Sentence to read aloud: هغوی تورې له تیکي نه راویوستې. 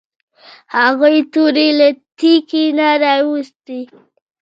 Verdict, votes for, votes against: accepted, 2, 0